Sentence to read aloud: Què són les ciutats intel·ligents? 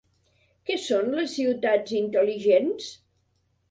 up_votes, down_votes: 3, 0